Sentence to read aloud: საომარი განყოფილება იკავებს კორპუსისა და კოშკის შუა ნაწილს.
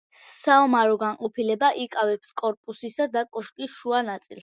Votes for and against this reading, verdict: 2, 0, accepted